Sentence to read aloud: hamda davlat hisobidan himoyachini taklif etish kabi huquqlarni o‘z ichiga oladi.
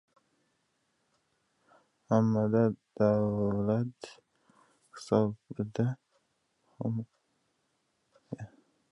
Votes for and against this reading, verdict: 0, 2, rejected